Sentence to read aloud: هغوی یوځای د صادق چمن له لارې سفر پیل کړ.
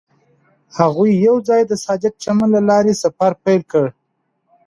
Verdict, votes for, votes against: accepted, 2, 0